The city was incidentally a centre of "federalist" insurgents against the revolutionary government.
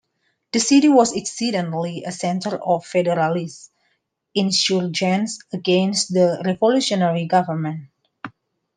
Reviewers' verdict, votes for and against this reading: rejected, 1, 2